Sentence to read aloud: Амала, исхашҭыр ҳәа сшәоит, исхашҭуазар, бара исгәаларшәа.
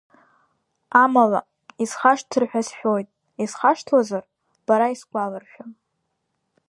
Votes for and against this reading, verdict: 2, 0, accepted